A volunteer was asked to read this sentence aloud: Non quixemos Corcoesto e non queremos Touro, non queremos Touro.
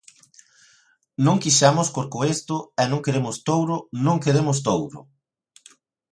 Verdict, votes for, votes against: accepted, 2, 0